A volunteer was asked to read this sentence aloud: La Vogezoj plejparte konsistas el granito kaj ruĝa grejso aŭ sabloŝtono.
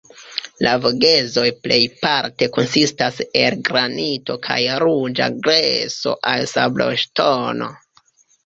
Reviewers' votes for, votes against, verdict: 1, 2, rejected